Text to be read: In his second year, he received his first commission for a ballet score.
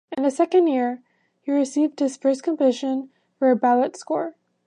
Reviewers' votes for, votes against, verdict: 1, 2, rejected